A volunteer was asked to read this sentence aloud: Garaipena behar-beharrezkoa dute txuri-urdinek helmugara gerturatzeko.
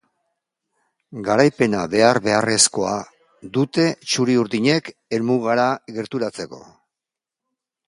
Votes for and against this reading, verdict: 2, 0, accepted